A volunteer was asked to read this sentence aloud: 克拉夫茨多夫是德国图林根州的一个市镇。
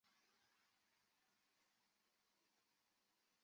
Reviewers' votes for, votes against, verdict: 0, 4, rejected